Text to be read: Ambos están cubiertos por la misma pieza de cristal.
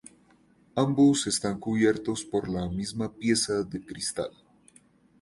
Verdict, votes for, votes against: accepted, 2, 0